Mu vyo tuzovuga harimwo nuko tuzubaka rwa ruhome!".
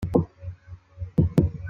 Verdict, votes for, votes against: rejected, 0, 3